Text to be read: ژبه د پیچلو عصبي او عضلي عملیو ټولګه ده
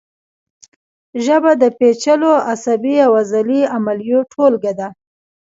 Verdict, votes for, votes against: accepted, 2, 1